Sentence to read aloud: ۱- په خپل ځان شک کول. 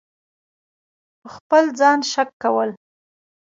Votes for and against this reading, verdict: 0, 2, rejected